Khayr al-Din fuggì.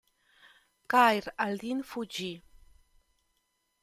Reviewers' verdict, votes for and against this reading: accepted, 2, 0